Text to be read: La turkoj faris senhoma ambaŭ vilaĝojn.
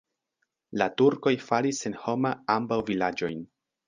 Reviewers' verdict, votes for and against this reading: rejected, 1, 2